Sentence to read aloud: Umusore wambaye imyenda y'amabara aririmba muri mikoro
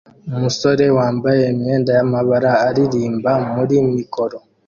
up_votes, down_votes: 2, 0